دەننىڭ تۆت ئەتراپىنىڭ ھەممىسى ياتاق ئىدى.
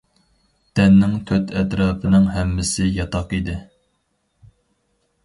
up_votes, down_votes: 4, 0